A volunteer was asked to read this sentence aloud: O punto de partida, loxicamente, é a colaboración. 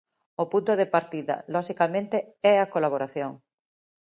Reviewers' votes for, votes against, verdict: 2, 1, accepted